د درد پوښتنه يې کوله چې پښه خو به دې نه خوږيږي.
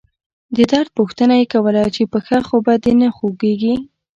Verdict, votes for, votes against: accepted, 2, 0